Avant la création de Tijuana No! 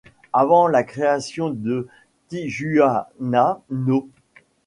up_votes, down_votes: 0, 2